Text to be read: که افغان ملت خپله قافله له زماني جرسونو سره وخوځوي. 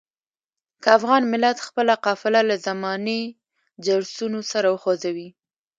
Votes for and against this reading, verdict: 2, 0, accepted